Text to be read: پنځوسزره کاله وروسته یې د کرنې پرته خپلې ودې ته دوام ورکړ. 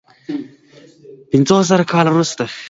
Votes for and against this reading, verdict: 0, 2, rejected